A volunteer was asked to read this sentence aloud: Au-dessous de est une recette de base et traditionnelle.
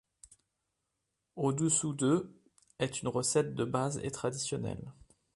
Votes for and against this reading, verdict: 2, 0, accepted